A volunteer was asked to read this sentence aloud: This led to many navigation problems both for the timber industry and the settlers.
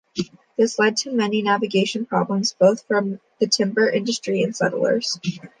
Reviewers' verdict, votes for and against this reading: rejected, 0, 2